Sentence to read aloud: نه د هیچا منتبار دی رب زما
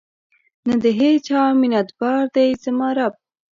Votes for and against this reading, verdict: 1, 2, rejected